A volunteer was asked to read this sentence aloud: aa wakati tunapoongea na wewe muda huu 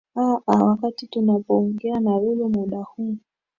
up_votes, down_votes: 2, 0